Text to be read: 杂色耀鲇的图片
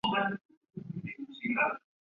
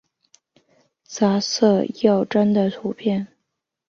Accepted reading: second